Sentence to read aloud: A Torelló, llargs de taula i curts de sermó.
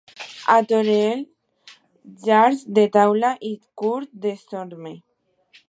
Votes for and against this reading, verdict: 0, 2, rejected